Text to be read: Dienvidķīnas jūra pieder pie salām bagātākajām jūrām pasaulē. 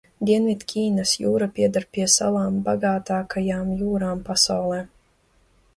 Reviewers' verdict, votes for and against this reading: accepted, 2, 0